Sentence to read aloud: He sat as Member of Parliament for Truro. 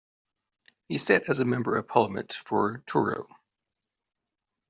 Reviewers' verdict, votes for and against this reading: rejected, 0, 3